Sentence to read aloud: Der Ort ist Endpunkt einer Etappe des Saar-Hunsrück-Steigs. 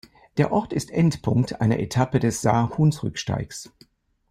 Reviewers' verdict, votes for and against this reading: accepted, 2, 0